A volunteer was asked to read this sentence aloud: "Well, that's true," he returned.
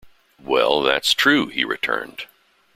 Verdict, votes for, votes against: accepted, 2, 0